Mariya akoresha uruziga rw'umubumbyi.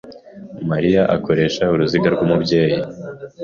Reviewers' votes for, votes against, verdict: 1, 2, rejected